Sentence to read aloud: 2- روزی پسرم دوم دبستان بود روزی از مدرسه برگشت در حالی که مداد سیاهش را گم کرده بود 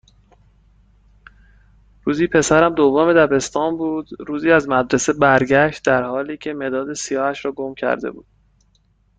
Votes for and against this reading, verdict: 0, 2, rejected